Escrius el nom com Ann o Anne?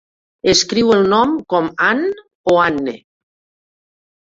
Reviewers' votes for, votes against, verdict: 0, 2, rejected